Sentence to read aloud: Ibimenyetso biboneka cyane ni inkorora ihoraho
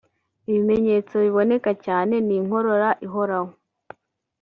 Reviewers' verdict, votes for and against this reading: rejected, 1, 2